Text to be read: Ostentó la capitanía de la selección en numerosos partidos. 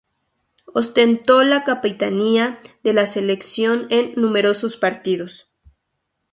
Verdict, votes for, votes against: accepted, 2, 0